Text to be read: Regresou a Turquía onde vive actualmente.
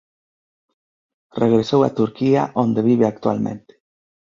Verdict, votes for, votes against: accepted, 2, 0